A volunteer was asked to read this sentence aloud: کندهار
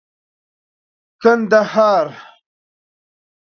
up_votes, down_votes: 2, 0